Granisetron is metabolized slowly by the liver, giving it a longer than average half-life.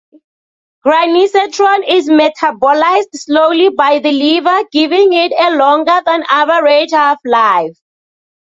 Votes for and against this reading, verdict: 2, 0, accepted